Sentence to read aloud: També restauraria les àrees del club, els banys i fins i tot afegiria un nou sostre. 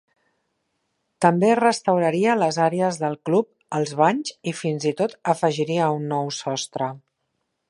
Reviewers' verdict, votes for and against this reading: accepted, 3, 0